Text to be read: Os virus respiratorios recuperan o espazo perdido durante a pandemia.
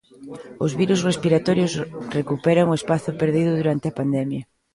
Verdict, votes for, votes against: rejected, 1, 2